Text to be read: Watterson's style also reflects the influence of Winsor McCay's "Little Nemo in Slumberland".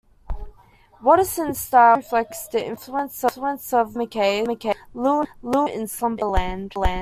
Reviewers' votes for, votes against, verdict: 0, 2, rejected